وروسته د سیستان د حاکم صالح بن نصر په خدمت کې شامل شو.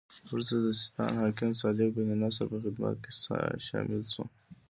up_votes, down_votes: 2, 0